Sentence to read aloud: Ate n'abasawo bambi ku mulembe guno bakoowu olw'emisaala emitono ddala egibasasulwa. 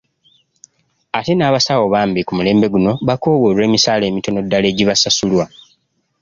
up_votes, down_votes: 2, 1